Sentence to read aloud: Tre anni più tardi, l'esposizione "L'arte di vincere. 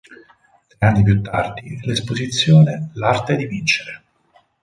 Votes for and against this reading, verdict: 2, 4, rejected